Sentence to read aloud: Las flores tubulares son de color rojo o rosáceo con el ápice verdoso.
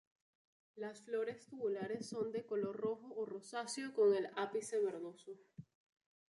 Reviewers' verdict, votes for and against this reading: rejected, 0, 2